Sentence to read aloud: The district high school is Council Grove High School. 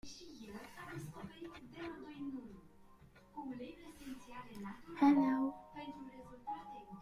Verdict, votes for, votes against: rejected, 0, 2